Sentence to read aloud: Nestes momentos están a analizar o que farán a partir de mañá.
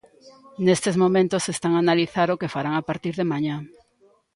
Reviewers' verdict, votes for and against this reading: accepted, 2, 0